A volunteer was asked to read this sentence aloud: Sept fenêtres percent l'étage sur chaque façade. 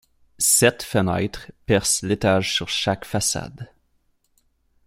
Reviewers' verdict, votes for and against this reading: accepted, 2, 0